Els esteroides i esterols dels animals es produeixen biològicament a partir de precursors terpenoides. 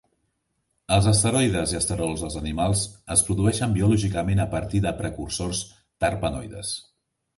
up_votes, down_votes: 2, 0